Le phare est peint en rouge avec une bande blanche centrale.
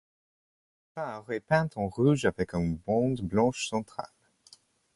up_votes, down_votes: 0, 2